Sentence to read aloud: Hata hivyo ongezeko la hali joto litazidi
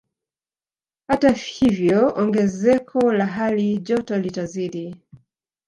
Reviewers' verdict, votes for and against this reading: accepted, 2, 1